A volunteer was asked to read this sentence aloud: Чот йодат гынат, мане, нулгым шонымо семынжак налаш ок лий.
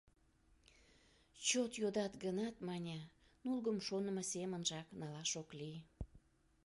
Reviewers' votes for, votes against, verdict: 2, 0, accepted